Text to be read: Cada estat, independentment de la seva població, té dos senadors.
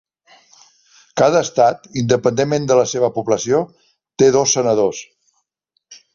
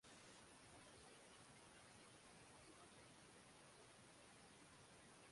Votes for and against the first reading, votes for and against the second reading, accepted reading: 4, 0, 0, 2, first